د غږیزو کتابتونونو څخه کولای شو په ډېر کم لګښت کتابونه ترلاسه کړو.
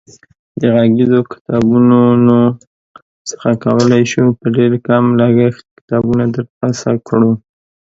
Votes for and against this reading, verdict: 2, 0, accepted